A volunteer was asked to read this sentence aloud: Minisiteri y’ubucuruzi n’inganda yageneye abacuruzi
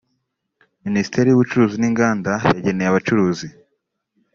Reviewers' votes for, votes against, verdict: 2, 0, accepted